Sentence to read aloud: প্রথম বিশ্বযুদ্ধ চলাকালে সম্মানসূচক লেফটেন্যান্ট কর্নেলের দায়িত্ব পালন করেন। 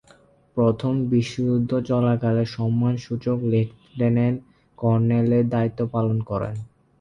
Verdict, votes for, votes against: accepted, 4, 0